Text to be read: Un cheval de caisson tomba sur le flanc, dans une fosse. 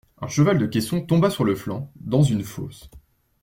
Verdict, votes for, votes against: accepted, 2, 0